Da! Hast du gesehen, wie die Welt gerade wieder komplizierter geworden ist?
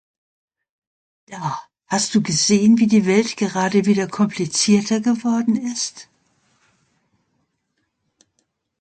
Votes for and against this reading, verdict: 2, 0, accepted